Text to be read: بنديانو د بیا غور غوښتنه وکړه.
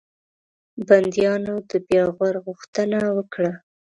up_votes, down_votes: 2, 0